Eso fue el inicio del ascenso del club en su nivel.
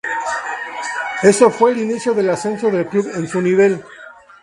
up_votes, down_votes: 2, 2